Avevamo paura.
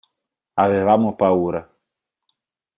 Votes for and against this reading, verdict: 4, 0, accepted